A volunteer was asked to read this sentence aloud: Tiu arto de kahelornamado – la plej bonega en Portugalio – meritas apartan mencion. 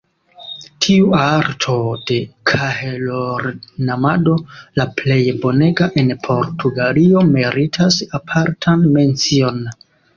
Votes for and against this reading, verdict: 2, 1, accepted